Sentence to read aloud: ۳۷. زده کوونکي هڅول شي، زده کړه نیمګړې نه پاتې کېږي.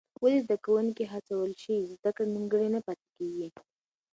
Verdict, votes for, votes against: rejected, 0, 2